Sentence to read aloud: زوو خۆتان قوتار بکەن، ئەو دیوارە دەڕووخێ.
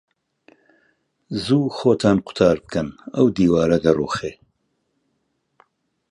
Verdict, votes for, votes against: accepted, 2, 0